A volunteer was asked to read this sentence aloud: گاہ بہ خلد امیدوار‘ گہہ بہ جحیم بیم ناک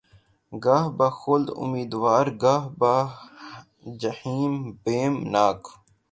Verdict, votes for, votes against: rejected, 0, 3